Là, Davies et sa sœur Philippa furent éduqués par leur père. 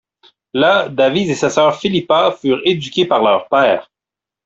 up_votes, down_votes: 2, 0